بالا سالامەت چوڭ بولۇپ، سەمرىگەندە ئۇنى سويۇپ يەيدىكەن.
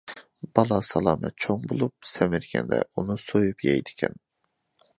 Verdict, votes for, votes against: accepted, 2, 1